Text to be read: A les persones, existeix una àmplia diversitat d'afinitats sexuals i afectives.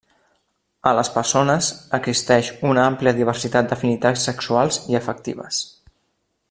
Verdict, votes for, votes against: accepted, 2, 0